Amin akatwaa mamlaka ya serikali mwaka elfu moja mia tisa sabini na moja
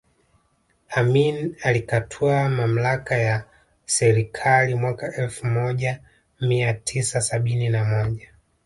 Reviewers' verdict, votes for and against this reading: rejected, 0, 2